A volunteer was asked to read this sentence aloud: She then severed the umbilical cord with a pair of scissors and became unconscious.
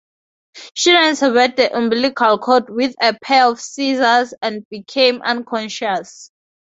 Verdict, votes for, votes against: rejected, 2, 4